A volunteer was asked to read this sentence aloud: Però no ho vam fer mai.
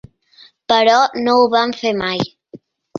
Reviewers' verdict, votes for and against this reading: accepted, 2, 0